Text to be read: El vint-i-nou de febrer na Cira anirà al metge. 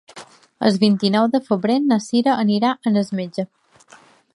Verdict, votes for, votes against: rejected, 0, 2